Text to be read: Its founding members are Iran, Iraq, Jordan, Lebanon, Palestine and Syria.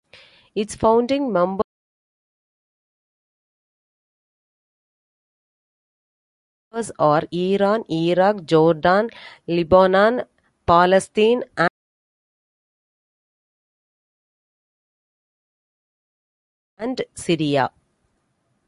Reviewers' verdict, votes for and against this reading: rejected, 0, 2